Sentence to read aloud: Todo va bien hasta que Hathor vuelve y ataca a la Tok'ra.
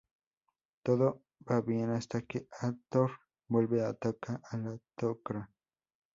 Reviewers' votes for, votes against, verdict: 2, 0, accepted